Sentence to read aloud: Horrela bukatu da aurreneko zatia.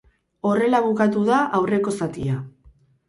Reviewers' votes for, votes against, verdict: 0, 4, rejected